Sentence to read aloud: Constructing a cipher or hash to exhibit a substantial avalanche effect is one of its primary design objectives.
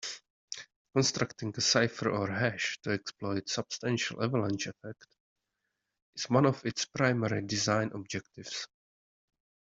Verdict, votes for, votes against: rejected, 0, 2